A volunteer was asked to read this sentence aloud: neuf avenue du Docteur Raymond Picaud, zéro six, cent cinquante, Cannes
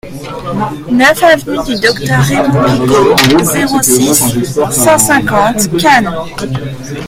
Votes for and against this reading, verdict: 0, 2, rejected